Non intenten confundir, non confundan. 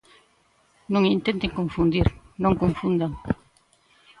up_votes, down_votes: 2, 1